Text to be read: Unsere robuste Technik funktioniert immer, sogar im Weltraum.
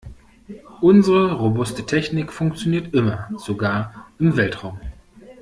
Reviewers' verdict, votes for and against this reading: accepted, 2, 0